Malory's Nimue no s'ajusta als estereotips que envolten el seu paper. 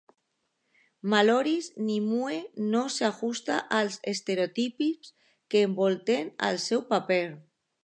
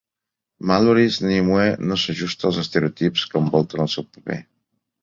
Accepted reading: second